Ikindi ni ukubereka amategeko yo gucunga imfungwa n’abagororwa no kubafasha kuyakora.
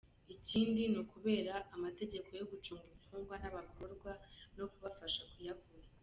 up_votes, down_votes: 0, 2